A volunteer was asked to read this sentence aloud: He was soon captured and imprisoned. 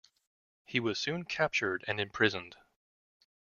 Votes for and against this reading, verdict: 2, 0, accepted